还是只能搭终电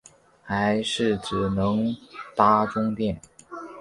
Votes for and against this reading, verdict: 3, 0, accepted